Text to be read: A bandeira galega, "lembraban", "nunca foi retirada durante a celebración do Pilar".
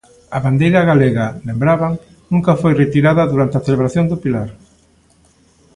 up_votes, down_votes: 2, 0